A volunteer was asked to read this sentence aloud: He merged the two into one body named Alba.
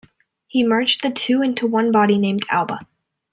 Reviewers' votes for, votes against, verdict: 2, 0, accepted